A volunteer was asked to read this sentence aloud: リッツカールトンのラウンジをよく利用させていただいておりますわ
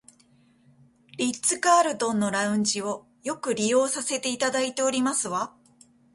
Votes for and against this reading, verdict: 2, 1, accepted